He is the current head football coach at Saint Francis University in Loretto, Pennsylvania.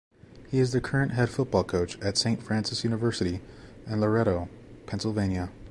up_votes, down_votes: 3, 0